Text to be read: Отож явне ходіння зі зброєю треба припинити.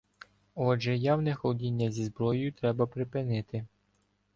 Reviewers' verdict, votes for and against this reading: rejected, 1, 2